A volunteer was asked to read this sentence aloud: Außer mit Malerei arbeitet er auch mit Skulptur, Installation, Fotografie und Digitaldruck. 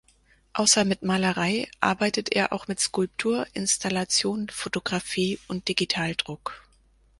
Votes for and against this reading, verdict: 4, 0, accepted